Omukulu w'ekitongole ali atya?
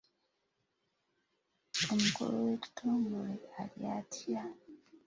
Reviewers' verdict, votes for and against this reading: accepted, 2, 0